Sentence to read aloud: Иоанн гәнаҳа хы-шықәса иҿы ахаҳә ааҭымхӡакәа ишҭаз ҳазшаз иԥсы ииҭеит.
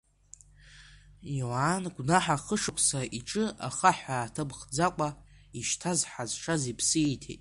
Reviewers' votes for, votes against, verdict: 1, 2, rejected